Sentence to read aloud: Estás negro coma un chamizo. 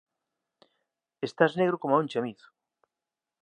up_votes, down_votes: 2, 0